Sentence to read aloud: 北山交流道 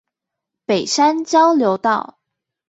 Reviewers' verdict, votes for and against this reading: accepted, 4, 0